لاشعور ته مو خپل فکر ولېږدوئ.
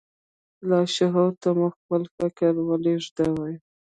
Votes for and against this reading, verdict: 0, 2, rejected